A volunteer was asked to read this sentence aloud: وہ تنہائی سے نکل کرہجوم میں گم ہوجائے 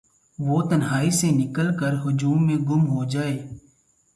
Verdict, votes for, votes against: accepted, 2, 0